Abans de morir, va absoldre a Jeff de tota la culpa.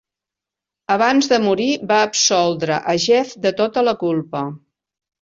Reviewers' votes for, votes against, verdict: 2, 0, accepted